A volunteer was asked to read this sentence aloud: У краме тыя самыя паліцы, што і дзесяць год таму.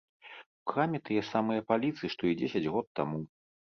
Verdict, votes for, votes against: accepted, 2, 0